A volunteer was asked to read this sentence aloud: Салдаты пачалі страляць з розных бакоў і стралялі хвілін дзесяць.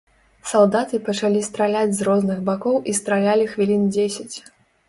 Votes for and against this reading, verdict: 2, 0, accepted